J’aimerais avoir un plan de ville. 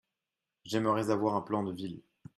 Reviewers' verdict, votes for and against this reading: accepted, 2, 0